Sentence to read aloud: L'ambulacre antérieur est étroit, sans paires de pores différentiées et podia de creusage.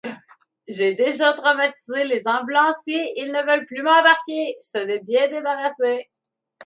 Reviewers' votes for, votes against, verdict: 0, 2, rejected